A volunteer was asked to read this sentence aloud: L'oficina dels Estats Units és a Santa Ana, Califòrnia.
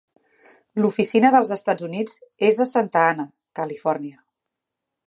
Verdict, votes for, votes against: accepted, 3, 0